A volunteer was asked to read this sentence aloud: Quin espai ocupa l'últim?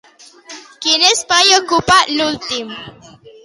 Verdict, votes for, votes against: accepted, 2, 0